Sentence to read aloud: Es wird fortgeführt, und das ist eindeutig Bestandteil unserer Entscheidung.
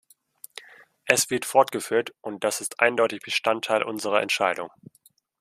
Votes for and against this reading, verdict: 2, 0, accepted